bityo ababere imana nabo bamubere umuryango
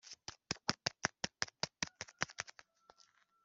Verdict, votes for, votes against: rejected, 0, 2